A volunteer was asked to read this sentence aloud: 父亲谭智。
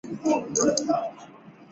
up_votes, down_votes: 2, 3